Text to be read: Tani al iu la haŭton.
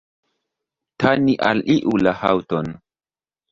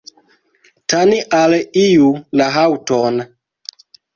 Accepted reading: second